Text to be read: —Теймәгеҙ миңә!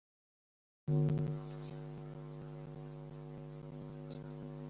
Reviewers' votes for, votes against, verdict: 0, 3, rejected